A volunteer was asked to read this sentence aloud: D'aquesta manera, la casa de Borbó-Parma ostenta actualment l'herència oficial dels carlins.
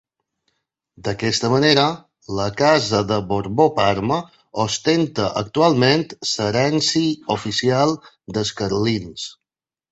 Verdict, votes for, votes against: accepted, 2, 1